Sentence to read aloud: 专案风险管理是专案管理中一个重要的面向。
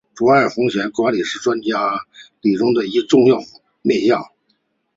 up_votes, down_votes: 0, 2